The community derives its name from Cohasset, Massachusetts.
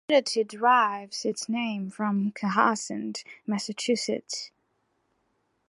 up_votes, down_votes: 1, 2